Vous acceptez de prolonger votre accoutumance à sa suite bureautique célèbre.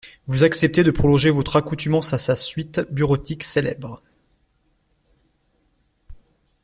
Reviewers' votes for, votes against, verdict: 2, 0, accepted